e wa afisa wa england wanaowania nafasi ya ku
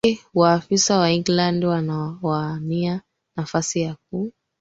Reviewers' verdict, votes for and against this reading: rejected, 2, 3